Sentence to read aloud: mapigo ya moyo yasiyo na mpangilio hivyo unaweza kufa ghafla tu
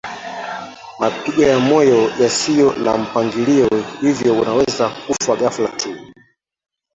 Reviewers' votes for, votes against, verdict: 0, 2, rejected